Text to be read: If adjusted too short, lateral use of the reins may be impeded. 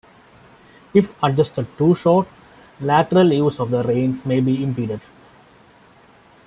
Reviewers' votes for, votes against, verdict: 2, 1, accepted